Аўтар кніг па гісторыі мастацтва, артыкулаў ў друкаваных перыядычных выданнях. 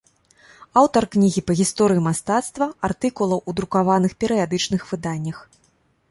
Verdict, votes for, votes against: rejected, 1, 2